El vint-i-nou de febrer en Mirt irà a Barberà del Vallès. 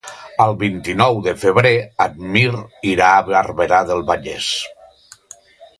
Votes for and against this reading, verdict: 2, 0, accepted